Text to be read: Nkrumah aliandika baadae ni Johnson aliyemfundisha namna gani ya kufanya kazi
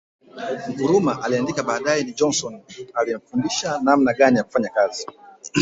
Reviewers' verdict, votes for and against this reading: accepted, 2, 1